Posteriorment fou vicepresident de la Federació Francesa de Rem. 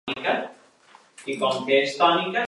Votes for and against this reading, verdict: 0, 2, rejected